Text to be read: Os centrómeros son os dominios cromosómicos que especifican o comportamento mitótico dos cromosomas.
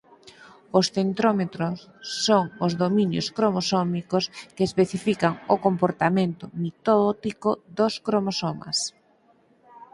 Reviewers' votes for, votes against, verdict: 2, 4, rejected